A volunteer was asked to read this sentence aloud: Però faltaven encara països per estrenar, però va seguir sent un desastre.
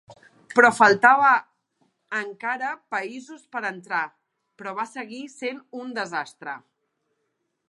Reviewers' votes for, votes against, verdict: 0, 2, rejected